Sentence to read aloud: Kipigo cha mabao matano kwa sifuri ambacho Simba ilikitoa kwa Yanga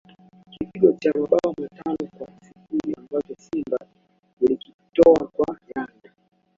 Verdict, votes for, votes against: rejected, 0, 2